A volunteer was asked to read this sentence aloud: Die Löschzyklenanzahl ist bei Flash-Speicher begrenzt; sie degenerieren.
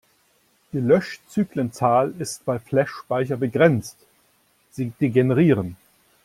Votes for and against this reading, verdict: 1, 2, rejected